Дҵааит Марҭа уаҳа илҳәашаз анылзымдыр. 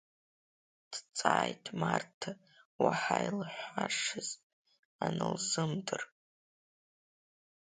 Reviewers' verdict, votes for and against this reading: rejected, 4, 5